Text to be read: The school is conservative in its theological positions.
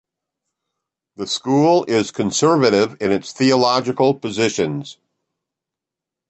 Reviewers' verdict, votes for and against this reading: rejected, 1, 2